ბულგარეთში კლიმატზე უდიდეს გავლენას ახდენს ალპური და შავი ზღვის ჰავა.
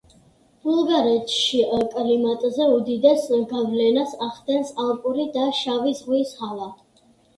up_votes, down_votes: 1, 2